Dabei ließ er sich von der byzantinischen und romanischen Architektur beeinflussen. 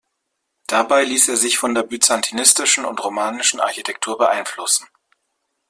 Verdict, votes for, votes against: rejected, 0, 2